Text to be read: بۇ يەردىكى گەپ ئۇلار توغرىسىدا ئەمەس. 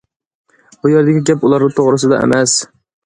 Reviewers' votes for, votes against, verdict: 2, 0, accepted